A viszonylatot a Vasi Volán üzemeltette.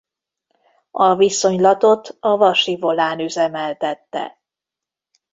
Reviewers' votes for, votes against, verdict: 2, 0, accepted